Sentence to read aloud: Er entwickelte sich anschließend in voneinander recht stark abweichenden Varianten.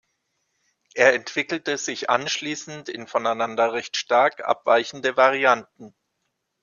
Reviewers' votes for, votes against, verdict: 1, 2, rejected